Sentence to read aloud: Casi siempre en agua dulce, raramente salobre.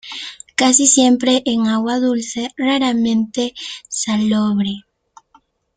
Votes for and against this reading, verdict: 1, 2, rejected